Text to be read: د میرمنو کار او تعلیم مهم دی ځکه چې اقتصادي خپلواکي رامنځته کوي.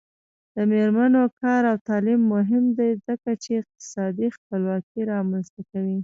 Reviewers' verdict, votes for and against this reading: rejected, 1, 2